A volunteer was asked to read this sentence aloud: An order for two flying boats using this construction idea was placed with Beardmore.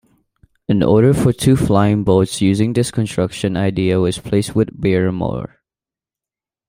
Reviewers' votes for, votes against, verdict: 1, 2, rejected